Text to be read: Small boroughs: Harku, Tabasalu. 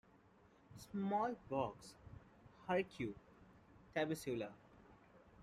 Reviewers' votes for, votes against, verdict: 2, 1, accepted